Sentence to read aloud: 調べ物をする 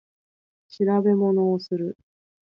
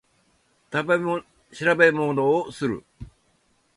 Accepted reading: first